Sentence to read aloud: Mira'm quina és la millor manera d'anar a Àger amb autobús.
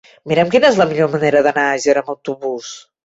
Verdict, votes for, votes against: rejected, 1, 2